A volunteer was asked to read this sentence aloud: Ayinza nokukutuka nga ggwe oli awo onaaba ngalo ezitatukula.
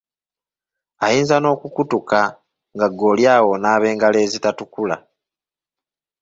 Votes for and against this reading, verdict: 1, 2, rejected